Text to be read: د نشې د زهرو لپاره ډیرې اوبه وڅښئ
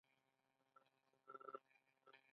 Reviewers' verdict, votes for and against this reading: accepted, 3, 2